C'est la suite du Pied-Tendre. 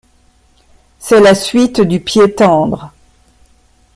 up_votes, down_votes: 1, 2